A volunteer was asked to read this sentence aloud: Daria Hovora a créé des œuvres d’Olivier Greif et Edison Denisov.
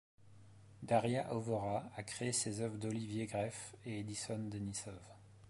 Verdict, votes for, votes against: rejected, 1, 2